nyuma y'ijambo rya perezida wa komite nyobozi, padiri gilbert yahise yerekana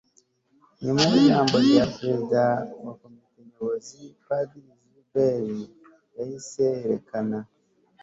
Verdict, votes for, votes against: accepted, 2, 0